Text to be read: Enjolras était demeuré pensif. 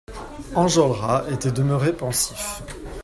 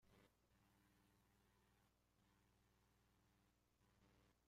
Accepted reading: first